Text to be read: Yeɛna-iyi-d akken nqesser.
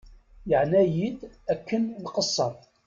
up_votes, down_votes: 1, 2